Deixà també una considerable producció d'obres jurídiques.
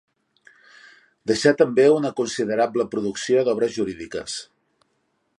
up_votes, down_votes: 4, 0